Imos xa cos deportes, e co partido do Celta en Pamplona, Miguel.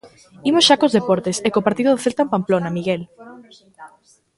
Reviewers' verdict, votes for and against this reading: rejected, 1, 2